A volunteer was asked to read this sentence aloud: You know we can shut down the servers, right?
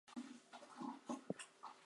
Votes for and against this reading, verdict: 0, 4, rejected